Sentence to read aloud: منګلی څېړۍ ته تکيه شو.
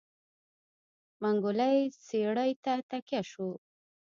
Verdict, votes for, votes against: rejected, 0, 2